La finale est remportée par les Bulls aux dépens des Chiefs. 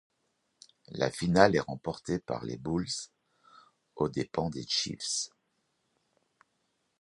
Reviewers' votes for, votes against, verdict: 0, 2, rejected